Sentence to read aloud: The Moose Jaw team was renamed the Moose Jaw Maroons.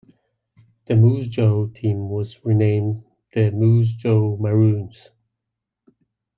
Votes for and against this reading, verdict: 2, 0, accepted